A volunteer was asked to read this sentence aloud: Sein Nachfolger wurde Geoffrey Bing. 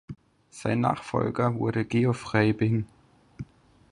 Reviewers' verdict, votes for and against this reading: rejected, 2, 4